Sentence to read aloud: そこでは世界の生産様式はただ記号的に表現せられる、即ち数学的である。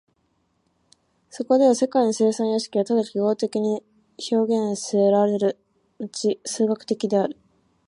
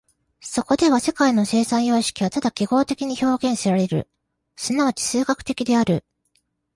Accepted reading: second